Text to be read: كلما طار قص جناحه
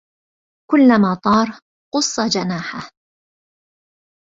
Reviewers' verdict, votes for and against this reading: rejected, 0, 2